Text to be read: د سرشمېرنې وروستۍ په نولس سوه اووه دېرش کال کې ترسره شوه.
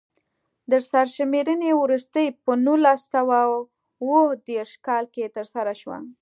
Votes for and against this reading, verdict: 2, 0, accepted